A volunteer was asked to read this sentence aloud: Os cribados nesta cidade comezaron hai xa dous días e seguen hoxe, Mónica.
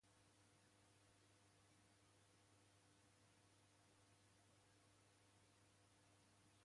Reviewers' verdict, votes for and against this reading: rejected, 0, 2